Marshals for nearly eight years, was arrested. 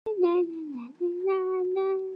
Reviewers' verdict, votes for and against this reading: rejected, 0, 2